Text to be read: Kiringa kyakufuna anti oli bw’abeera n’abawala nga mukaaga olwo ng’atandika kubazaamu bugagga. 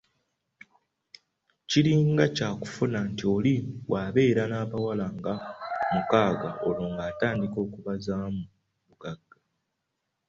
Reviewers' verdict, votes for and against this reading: accepted, 2, 0